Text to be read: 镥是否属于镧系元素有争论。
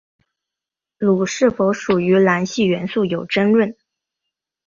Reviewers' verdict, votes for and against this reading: accepted, 3, 0